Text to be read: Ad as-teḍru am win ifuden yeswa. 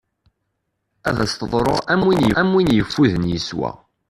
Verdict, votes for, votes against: rejected, 0, 2